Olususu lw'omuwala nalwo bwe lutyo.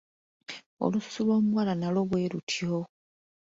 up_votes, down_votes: 2, 0